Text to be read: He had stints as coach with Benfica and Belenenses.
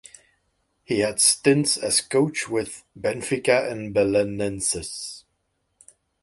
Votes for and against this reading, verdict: 4, 0, accepted